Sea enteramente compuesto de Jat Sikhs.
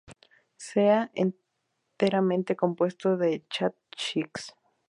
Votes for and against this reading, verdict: 0, 2, rejected